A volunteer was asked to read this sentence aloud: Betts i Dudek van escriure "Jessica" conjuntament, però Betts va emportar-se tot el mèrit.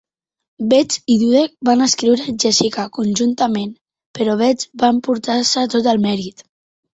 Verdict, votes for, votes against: accepted, 2, 0